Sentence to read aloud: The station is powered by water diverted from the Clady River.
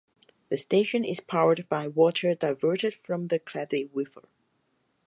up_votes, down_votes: 2, 2